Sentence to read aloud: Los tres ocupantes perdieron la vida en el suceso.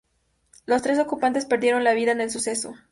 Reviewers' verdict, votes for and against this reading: accepted, 2, 0